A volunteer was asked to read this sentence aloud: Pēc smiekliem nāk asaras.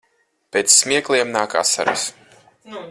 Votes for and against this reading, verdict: 4, 0, accepted